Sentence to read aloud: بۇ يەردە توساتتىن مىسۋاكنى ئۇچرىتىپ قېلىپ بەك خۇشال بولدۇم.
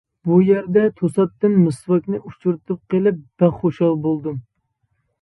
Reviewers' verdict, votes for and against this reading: accepted, 2, 0